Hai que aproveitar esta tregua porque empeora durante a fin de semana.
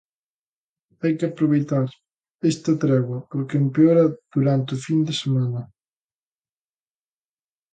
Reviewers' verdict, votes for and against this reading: accepted, 2, 1